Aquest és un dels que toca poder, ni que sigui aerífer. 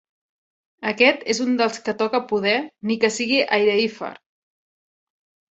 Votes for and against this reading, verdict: 0, 2, rejected